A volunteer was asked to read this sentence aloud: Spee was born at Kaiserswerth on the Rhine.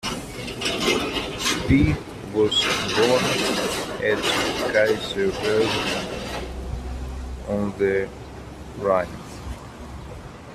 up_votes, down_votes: 1, 2